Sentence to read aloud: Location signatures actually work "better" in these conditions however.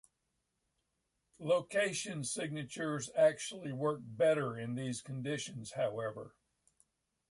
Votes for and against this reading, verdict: 2, 0, accepted